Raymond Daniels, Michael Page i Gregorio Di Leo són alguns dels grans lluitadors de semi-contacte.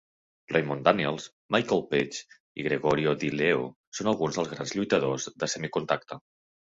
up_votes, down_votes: 3, 1